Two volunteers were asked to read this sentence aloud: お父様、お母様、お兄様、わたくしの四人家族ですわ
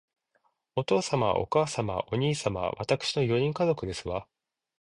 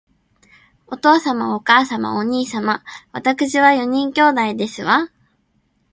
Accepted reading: first